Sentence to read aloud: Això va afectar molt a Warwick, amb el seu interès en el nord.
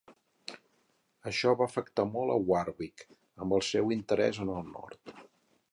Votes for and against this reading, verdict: 6, 2, accepted